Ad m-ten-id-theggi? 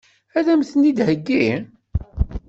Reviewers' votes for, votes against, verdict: 1, 2, rejected